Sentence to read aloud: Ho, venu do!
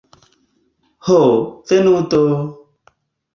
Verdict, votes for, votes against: accepted, 2, 0